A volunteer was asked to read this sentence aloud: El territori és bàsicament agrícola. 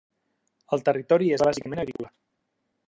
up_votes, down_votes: 0, 2